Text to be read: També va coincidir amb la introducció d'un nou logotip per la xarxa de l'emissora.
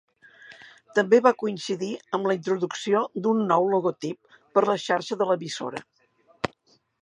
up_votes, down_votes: 2, 0